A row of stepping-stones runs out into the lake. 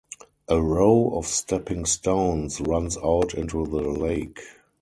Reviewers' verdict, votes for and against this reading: rejected, 0, 2